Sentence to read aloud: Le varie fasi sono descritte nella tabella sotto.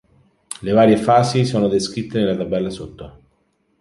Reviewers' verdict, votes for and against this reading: accepted, 4, 0